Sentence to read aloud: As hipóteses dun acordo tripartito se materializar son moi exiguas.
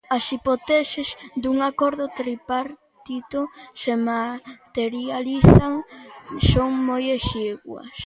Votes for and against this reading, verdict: 0, 2, rejected